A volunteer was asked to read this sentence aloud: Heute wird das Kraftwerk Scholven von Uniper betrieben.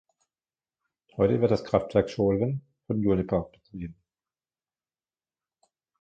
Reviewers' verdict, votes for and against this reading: rejected, 0, 2